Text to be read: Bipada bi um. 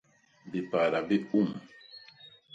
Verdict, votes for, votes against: rejected, 0, 2